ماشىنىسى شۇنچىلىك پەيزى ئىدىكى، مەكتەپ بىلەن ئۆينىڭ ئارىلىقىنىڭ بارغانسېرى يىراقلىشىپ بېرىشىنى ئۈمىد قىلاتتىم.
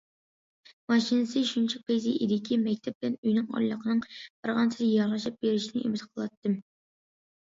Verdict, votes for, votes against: accepted, 2, 1